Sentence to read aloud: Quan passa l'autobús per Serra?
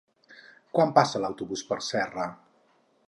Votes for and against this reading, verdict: 4, 0, accepted